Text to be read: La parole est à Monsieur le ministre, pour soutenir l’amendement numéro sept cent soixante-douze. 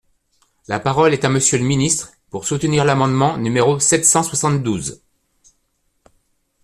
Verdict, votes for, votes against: accepted, 2, 0